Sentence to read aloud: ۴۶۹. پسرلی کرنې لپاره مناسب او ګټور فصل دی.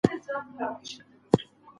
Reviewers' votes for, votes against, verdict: 0, 2, rejected